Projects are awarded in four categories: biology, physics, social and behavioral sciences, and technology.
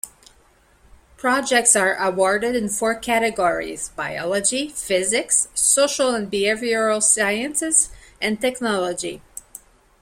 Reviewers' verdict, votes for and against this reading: rejected, 1, 2